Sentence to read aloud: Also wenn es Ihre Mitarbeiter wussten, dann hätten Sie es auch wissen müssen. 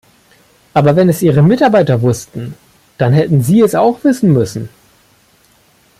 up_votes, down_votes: 0, 2